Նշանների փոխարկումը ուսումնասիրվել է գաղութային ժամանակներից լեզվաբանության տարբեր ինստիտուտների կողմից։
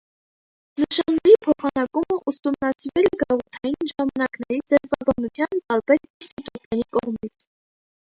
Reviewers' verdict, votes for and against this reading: rejected, 0, 2